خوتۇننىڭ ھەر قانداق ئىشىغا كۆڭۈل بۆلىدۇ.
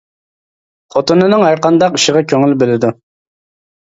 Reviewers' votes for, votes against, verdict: 0, 2, rejected